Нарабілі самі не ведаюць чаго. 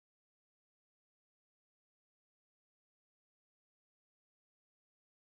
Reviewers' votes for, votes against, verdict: 0, 2, rejected